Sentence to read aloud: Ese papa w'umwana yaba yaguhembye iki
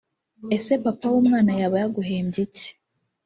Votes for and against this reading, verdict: 2, 0, accepted